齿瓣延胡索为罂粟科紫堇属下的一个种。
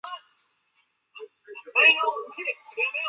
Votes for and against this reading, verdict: 1, 3, rejected